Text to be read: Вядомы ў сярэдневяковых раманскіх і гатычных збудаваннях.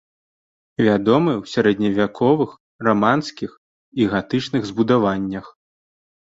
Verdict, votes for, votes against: accepted, 2, 0